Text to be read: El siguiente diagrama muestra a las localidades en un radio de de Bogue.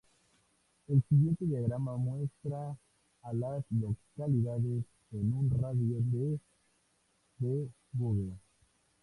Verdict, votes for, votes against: rejected, 0, 2